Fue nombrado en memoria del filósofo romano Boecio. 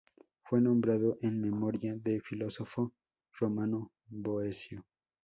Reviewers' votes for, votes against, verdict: 2, 0, accepted